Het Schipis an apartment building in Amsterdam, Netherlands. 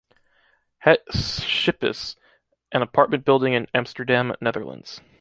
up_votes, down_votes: 2, 1